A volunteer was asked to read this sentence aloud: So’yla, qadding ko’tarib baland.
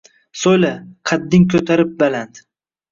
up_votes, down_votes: 2, 0